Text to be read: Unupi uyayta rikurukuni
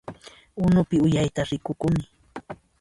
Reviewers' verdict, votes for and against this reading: accepted, 2, 1